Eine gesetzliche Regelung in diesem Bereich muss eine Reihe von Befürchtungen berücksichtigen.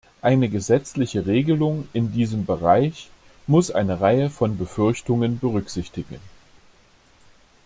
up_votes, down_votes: 2, 0